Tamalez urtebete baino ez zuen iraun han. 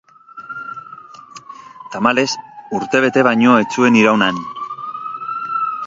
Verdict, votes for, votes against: accepted, 4, 1